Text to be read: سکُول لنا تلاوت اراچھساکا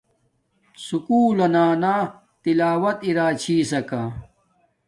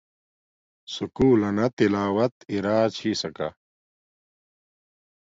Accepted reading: second